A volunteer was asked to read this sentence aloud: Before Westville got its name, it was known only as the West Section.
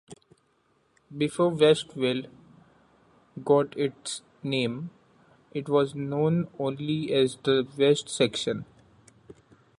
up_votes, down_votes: 2, 0